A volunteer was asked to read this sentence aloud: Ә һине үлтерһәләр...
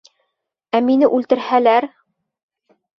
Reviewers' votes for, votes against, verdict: 1, 3, rejected